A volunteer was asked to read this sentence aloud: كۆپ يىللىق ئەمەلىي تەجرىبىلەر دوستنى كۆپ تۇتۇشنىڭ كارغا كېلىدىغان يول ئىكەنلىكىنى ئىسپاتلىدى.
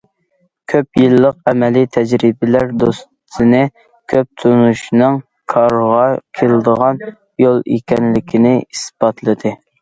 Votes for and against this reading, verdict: 0, 2, rejected